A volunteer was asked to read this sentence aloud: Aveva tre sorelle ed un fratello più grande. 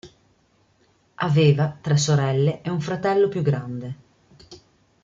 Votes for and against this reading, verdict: 1, 2, rejected